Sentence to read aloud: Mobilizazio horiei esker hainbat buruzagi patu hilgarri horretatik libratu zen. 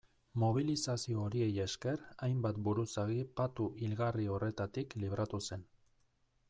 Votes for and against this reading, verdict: 2, 0, accepted